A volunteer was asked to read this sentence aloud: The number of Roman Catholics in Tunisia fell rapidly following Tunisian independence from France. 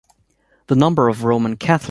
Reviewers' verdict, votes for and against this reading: rejected, 1, 2